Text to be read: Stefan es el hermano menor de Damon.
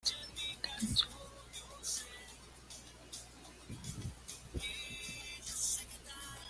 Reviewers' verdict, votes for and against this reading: rejected, 1, 2